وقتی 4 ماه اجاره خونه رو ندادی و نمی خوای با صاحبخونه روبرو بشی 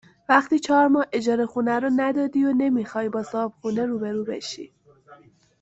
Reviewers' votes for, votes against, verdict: 0, 2, rejected